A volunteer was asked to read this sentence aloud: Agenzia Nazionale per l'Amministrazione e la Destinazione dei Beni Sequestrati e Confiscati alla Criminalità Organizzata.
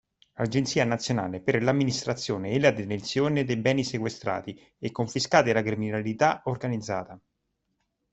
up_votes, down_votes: 1, 2